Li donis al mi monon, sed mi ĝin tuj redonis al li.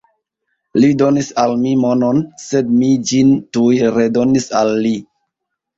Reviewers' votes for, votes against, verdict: 1, 2, rejected